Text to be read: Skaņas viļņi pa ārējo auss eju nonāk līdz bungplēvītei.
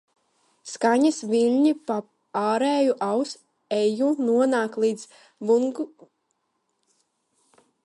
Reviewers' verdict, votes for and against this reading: rejected, 0, 2